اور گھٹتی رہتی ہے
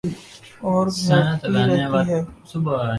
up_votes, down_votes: 1, 2